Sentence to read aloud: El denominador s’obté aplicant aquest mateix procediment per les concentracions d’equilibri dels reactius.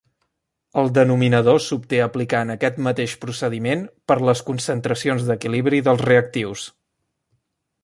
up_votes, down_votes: 2, 0